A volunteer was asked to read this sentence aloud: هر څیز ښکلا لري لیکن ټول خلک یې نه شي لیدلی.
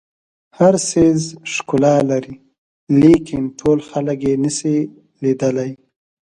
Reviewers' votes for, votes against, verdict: 1, 2, rejected